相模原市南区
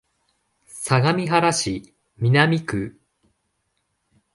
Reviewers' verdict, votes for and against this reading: accepted, 2, 0